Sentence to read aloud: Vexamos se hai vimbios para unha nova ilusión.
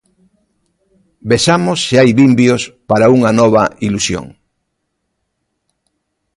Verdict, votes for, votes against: accepted, 2, 0